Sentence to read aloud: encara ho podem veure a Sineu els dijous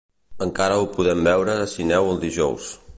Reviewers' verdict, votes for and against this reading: rejected, 1, 2